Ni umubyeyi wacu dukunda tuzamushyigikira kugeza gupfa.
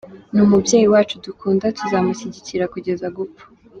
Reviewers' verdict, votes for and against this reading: accepted, 3, 0